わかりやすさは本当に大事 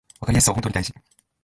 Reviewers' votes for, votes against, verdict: 1, 2, rejected